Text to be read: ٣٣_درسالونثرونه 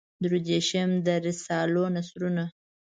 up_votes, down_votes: 0, 2